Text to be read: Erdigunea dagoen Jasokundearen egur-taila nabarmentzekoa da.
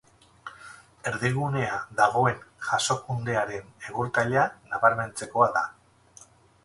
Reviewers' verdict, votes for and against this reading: rejected, 0, 2